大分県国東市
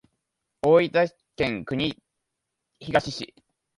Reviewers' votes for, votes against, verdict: 1, 2, rejected